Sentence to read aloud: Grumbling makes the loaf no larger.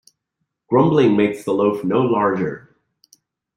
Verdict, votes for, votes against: accepted, 2, 0